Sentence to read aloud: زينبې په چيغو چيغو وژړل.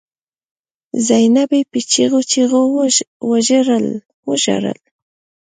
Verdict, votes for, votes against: rejected, 0, 2